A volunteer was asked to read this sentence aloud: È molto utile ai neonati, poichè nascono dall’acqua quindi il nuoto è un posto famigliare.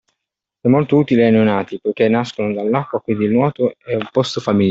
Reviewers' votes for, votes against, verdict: 0, 2, rejected